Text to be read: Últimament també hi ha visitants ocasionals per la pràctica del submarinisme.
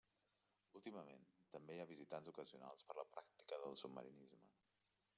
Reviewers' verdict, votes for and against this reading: accepted, 3, 0